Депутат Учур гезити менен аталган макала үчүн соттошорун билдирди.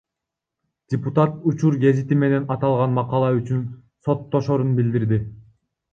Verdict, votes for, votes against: rejected, 1, 2